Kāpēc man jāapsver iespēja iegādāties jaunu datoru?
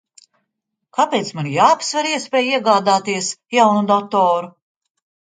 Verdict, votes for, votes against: accepted, 2, 1